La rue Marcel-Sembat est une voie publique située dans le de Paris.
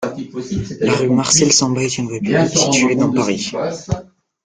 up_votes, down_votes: 0, 2